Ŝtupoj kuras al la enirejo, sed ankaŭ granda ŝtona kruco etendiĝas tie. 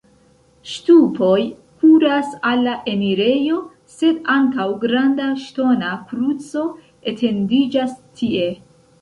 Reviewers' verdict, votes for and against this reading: accepted, 2, 0